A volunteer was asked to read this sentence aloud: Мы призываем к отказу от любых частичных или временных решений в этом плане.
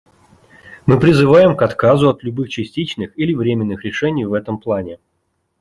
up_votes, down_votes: 2, 0